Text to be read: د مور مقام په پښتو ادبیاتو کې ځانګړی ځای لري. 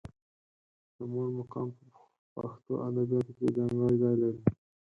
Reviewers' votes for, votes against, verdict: 2, 6, rejected